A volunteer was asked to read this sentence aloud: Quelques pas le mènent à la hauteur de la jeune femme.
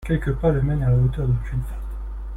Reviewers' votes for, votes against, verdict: 0, 2, rejected